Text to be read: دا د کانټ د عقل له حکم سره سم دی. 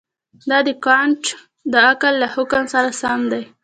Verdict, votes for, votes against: accepted, 2, 1